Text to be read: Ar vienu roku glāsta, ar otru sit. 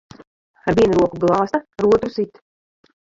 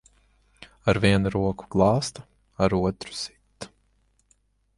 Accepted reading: second